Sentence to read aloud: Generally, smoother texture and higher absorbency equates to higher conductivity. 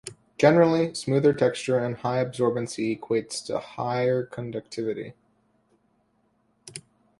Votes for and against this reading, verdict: 2, 0, accepted